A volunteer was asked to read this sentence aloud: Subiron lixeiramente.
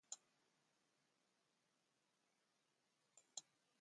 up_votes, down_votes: 0, 2